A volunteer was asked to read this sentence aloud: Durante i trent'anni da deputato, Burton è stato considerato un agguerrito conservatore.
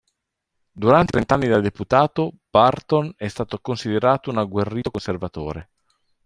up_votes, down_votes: 1, 2